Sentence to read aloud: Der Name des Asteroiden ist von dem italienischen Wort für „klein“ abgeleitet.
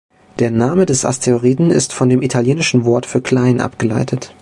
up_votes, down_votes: 2, 0